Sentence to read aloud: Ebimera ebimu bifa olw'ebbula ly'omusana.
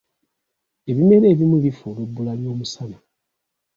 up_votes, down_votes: 2, 0